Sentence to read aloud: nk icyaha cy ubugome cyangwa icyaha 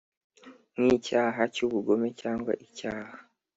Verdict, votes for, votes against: accepted, 2, 0